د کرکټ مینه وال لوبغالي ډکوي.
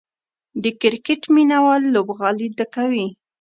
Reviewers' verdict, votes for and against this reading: accepted, 2, 0